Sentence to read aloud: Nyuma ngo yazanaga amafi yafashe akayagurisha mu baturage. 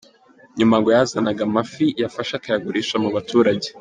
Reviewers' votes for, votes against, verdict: 2, 0, accepted